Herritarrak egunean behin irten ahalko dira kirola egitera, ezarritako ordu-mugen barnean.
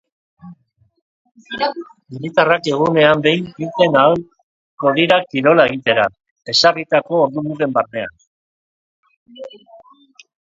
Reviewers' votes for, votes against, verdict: 2, 3, rejected